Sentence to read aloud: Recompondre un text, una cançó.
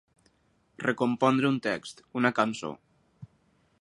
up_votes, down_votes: 6, 0